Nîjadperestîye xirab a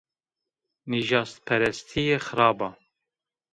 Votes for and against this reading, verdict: 1, 2, rejected